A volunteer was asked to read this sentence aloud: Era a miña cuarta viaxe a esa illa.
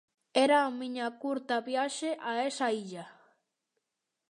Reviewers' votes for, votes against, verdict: 0, 2, rejected